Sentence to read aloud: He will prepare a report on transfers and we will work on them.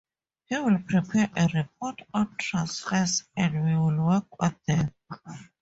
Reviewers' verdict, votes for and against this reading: accepted, 2, 0